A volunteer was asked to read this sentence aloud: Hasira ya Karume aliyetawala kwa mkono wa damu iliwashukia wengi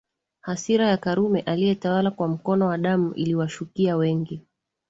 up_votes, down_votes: 2, 0